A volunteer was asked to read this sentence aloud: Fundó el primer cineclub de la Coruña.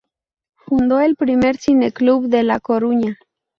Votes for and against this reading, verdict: 4, 0, accepted